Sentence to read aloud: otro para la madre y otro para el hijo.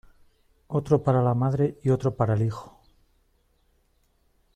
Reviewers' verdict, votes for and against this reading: accepted, 2, 0